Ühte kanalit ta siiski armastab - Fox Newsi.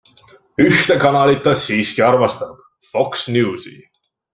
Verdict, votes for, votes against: accepted, 2, 0